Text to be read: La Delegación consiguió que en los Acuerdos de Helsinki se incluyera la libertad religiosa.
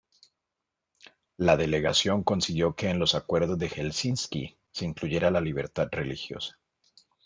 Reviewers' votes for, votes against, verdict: 1, 2, rejected